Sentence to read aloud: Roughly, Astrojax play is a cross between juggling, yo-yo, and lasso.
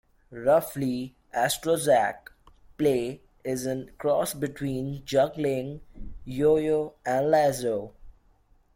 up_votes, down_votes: 1, 2